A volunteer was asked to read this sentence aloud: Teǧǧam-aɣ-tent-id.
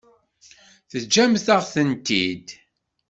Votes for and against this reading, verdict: 1, 2, rejected